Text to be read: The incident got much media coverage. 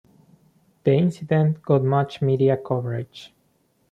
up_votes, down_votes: 2, 0